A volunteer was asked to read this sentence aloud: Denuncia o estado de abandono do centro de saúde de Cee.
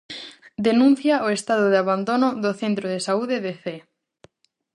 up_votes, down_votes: 4, 0